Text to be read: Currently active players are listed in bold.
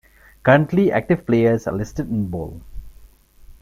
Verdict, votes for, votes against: accepted, 2, 0